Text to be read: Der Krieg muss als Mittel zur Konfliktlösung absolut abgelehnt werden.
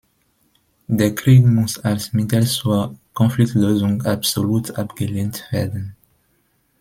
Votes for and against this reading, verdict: 2, 0, accepted